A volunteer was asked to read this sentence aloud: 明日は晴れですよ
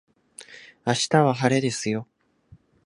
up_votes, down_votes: 2, 0